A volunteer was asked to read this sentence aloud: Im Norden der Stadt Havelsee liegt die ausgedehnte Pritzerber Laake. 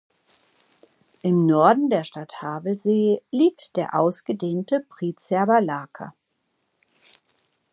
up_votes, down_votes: 0, 2